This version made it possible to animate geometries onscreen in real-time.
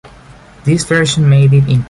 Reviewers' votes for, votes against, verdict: 0, 2, rejected